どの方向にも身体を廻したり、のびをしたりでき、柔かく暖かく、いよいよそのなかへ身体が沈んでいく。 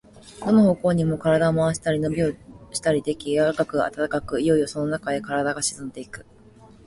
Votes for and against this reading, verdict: 2, 1, accepted